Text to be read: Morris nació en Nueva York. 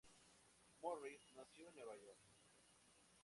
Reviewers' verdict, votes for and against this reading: rejected, 0, 2